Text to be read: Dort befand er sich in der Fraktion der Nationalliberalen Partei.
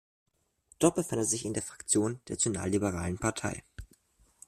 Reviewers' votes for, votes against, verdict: 0, 2, rejected